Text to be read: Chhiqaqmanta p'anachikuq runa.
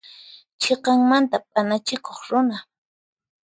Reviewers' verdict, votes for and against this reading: accepted, 4, 0